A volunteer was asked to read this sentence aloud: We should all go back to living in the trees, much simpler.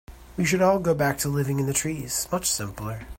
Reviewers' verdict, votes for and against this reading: accepted, 2, 0